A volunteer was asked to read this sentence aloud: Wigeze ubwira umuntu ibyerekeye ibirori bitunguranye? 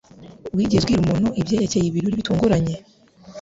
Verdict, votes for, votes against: rejected, 0, 2